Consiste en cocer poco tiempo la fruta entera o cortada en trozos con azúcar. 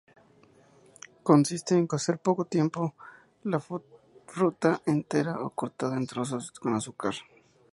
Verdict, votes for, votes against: rejected, 0, 2